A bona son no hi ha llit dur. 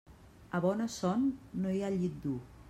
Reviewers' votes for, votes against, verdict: 3, 0, accepted